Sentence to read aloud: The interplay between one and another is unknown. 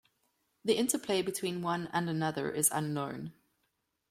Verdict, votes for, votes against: accepted, 2, 0